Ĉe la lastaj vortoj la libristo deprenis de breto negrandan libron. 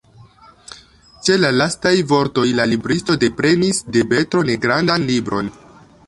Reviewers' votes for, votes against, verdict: 1, 2, rejected